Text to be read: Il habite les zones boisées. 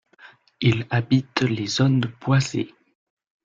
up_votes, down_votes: 1, 2